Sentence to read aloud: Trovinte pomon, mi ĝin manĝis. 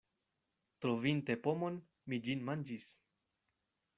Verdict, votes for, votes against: accepted, 2, 0